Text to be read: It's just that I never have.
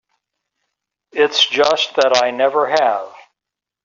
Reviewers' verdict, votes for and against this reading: accepted, 3, 0